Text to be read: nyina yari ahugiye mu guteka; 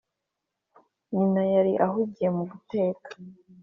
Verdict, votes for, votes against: accepted, 3, 0